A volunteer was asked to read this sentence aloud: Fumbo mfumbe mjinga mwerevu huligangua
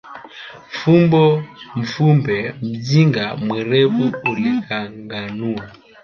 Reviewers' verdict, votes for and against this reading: rejected, 0, 2